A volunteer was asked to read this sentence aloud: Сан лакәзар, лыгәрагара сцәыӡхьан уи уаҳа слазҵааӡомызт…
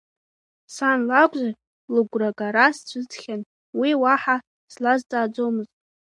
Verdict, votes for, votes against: accepted, 2, 0